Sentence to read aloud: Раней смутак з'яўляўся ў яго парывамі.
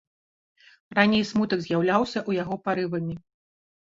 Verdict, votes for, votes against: rejected, 1, 2